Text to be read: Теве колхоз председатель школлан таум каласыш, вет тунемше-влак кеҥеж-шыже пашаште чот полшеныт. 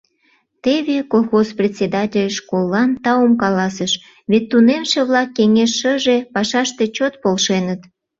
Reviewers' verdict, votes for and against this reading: accepted, 2, 0